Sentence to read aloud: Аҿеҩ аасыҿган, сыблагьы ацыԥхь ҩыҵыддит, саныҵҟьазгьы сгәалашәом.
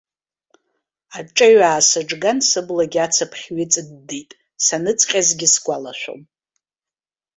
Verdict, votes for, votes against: accepted, 2, 0